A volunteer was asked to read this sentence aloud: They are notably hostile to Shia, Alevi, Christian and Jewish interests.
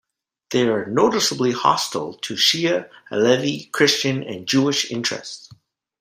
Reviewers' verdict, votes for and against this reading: rejected, 1, 2